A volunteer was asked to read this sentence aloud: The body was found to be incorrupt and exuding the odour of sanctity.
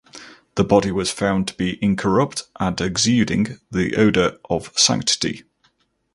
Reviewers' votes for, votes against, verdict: 4, 0, accepted